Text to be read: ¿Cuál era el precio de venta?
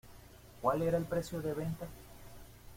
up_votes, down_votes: 2, 0